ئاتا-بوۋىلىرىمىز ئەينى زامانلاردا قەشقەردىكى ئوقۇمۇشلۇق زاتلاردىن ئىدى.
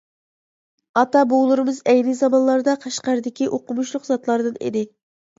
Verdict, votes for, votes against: accepted, 2, 0